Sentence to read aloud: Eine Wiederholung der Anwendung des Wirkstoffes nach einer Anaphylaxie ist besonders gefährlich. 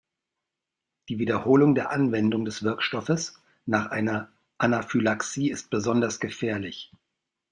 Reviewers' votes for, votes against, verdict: 0, 2, rejected